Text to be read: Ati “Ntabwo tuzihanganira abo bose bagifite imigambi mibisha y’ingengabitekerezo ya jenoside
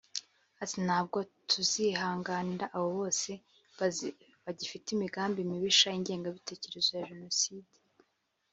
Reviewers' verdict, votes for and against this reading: rejected, 2, 2